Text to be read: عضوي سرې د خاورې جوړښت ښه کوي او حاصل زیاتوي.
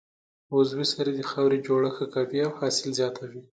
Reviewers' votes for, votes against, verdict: 2, 0, accepted